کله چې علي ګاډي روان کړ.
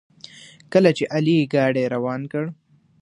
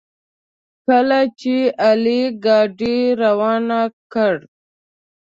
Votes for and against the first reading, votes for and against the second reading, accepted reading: 2, 0, 1, 2, first